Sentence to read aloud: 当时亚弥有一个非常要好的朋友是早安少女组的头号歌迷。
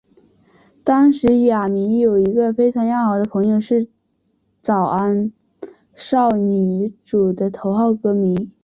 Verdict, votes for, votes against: accepted, 4, 1